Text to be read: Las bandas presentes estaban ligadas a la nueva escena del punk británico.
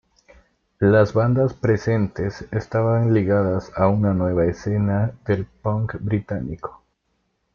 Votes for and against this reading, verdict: 1, 2, rejected